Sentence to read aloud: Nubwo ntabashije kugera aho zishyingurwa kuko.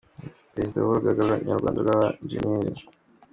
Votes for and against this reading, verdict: 1, 2, rejected